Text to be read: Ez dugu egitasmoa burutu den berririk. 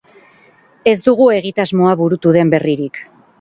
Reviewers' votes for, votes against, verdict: 8, 0, accepted